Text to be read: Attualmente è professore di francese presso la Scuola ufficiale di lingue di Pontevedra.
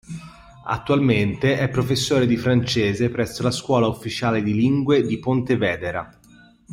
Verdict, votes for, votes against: rejected, 0, 2